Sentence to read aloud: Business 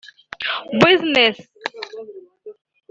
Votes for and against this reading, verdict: 3, 4, rejected